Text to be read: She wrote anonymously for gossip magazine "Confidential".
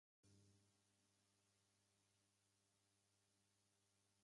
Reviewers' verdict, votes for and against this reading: rejected, 0, 2